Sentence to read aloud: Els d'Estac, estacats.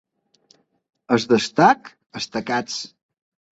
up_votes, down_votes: 2, 3